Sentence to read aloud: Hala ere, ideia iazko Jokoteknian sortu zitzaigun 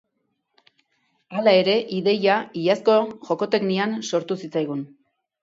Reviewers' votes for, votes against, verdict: 2, 0, accepted